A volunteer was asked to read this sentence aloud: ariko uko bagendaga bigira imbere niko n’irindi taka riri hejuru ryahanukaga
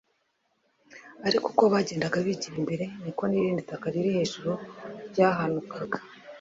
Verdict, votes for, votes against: accepted, 2, 0